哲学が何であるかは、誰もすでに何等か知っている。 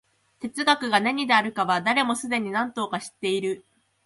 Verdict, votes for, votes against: rejected, 1, 2